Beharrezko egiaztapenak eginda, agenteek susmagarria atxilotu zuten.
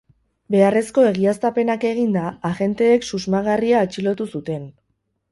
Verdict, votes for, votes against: rejected, 2, 2